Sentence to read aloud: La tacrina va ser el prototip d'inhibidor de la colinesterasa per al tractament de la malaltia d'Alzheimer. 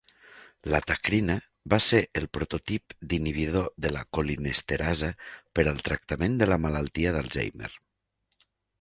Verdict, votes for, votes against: accepted, 3, 0